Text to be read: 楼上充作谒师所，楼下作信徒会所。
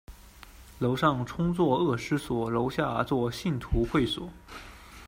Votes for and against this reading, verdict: 1, 2, rejected